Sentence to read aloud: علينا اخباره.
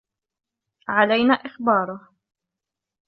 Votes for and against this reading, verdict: 2, 0, accepted